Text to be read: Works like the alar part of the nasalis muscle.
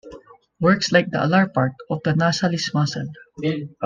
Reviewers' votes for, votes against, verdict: 1, 2, rejected